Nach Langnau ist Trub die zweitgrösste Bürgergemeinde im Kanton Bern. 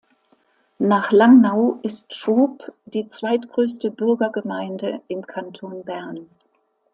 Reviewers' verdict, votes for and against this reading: accepted, 2, 0